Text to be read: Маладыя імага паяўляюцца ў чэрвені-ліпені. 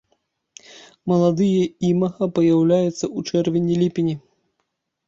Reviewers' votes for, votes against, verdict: 1, 2, rejected